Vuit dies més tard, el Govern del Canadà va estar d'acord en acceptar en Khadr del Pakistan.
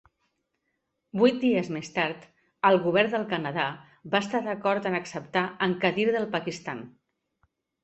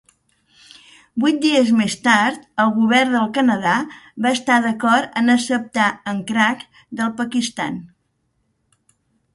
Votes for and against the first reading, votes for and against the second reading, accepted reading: 2, 0, 0, 2, first